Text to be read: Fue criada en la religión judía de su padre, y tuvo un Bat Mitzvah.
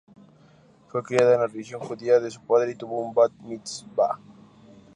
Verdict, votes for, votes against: rejected, 0, 4